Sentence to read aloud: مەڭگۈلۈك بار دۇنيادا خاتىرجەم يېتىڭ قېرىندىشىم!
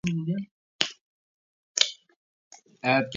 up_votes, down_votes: 0, 2